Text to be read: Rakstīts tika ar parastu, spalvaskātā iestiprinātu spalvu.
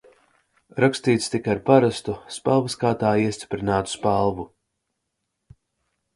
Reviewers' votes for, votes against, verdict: 2, 0, accepted